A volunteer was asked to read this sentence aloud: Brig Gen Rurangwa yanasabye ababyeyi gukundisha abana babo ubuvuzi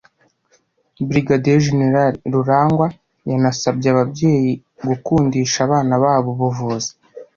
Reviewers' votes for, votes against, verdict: 2, 0, accepted